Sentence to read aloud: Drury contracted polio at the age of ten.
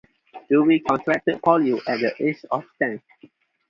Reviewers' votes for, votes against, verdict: 0, 4, rejected